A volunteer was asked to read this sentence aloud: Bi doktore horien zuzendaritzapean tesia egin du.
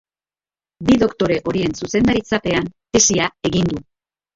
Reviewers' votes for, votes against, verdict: 2, 0, accepted